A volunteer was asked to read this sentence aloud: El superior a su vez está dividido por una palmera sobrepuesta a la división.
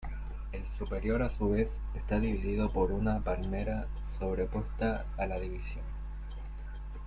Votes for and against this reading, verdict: 2, 0, accepted